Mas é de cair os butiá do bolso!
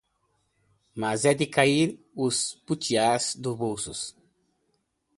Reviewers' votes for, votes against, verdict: 0, 2, rejected